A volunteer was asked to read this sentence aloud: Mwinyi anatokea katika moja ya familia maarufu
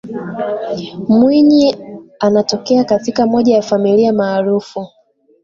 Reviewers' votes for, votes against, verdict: 2, 1, accepted